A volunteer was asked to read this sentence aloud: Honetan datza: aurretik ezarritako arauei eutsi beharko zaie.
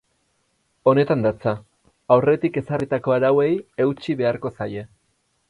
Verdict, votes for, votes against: accepted, 4, 0